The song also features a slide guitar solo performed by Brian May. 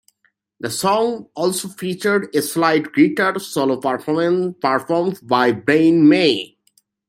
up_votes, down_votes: 0, 2